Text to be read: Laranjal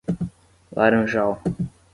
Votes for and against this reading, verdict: 5, 0, accepted